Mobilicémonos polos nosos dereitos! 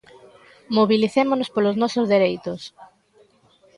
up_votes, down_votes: 2, 0